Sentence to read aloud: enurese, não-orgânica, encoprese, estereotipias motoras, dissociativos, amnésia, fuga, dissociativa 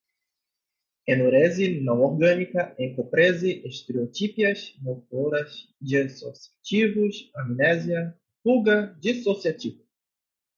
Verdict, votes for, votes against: rejected, 2, 2